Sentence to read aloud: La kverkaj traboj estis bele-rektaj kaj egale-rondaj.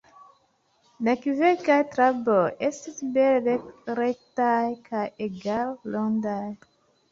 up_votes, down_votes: 0, 2